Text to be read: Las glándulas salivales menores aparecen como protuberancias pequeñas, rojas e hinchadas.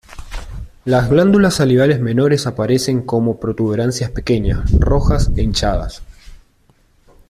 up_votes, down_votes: 2, 0